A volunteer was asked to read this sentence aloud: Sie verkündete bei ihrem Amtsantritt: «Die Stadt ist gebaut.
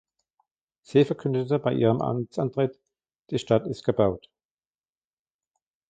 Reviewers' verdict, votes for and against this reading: accepted, 2, 1